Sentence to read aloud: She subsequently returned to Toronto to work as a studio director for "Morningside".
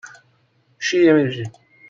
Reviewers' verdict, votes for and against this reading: rejected, 0, 2